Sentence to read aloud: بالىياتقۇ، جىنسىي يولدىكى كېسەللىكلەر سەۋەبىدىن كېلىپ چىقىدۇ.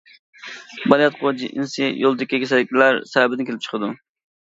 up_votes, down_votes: 0, 2